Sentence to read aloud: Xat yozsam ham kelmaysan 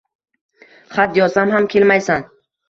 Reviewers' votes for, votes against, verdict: 2, 0, accepted